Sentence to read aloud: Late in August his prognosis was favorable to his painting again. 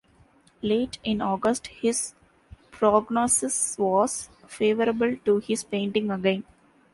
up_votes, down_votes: 2, 0